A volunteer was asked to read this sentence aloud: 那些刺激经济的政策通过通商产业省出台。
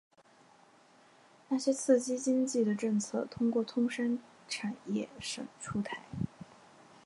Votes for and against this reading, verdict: 2, 1, accepted